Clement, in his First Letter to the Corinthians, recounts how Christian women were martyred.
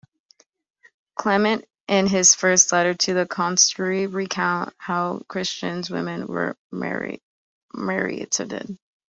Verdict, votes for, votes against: rejected, 0, 3